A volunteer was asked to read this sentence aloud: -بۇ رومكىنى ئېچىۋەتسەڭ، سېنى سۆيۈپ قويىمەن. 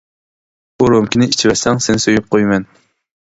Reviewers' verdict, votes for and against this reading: rejected, 1, 2